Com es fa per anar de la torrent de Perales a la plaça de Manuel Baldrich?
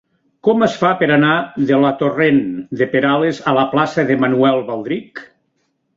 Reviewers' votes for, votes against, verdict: 2, 0, accepted